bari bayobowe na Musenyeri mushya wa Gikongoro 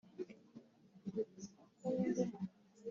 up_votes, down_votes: 0, 3